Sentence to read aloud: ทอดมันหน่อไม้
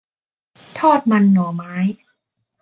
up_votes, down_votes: 2, 0